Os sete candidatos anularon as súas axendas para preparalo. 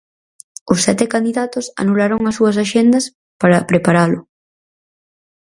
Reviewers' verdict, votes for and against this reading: accepted, 4, 0